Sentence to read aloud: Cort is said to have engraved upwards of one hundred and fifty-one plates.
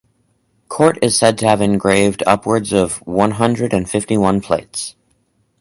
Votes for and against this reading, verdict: 2, 2, rejected